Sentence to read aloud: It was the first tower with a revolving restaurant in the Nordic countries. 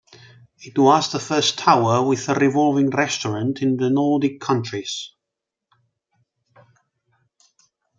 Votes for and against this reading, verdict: 2, 0, accepted